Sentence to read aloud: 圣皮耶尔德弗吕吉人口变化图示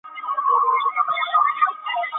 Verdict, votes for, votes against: rejected, 2, 2